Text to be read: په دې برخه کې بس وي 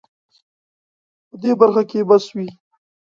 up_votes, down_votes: 2, 0